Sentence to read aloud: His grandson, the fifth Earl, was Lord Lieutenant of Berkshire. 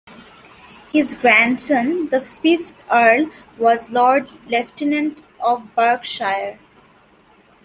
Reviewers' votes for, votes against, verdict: 0, 2, rejected